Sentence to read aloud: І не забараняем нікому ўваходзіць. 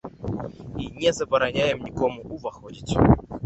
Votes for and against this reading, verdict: 2, 1, accepted